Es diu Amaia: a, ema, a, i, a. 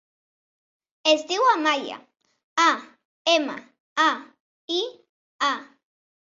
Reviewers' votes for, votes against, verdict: 3, 0, accepted